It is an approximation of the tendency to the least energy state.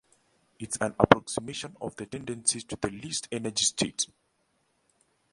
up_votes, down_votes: 1, 2